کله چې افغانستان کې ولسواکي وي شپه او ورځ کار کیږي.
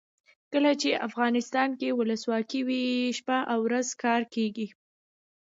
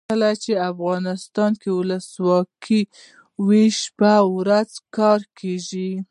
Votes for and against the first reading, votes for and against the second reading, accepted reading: 2, 0, 0, 2, first